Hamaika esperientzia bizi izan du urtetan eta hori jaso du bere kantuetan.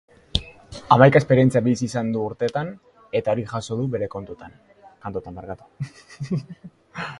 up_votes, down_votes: 0, 2